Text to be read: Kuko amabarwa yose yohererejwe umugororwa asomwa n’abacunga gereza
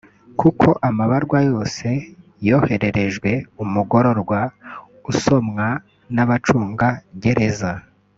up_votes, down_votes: 1, 2